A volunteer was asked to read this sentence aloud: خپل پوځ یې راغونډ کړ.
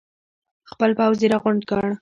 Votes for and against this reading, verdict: 1, 2, rejected